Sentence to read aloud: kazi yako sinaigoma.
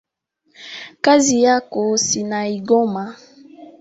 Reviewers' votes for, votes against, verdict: 2, 1, accepted